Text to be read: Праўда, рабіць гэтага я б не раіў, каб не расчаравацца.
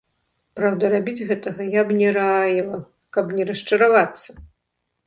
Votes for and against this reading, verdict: 1, 2, rejected